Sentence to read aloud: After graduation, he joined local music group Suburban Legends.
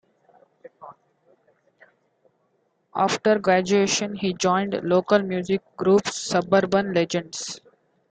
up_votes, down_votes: 2, 0